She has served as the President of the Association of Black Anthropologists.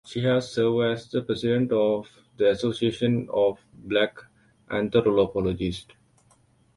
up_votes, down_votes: 2, 1